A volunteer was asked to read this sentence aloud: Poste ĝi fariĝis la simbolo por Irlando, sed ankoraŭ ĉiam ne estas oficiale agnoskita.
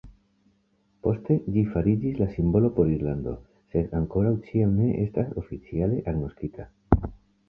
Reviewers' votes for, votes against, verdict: 1, 2, rejected